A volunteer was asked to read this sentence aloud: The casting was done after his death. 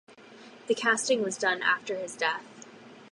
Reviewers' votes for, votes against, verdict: 4, 0, accepted